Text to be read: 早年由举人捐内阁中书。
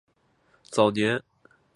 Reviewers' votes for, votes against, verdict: 1, 4, rejected